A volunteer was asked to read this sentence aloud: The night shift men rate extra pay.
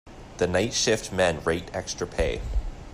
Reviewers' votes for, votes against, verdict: 2, 0, accepted